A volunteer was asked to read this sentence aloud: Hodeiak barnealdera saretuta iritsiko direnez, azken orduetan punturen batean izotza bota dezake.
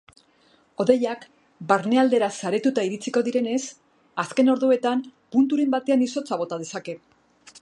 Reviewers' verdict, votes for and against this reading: accepted, 2, 0